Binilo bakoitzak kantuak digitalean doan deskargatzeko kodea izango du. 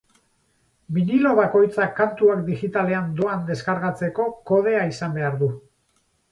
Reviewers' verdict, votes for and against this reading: rejected, 0, 2